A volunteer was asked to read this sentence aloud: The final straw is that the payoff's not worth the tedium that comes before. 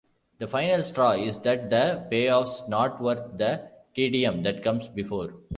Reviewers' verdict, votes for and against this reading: accepted, 2, 1